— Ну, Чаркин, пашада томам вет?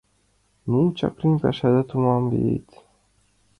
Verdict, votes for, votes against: rejected, 1, 2